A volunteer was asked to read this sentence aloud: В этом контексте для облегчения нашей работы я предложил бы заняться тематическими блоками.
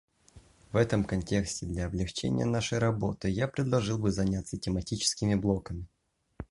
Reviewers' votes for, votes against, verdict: 2, 0, accepted